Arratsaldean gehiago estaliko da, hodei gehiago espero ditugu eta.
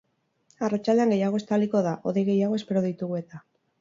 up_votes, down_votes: 2, 0